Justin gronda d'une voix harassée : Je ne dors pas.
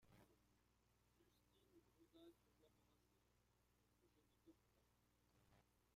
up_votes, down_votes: 0, 2